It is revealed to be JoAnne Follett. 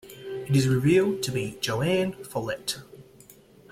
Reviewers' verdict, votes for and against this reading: accepted, 2, 0